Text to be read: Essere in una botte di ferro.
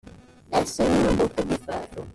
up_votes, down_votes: 0, 2